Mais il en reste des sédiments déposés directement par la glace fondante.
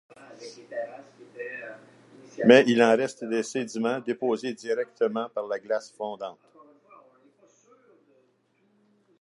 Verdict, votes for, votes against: accepted, 2, 1